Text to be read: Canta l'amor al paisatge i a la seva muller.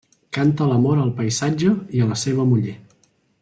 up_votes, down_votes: 3, 0